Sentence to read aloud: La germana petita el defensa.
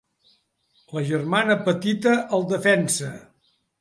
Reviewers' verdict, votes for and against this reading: accepted, 3, 0